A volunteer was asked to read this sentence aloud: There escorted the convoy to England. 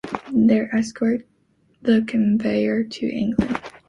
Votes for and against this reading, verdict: 0, 3, rejected